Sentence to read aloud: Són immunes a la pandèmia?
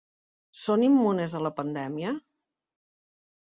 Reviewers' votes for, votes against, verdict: 4, 0, accepted